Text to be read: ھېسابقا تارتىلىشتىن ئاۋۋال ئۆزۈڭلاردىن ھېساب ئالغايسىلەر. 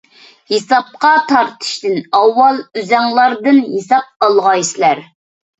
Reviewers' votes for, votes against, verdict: 0, 2, rejected